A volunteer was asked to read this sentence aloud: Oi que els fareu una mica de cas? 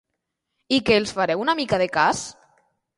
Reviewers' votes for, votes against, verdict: 0, 2, rejected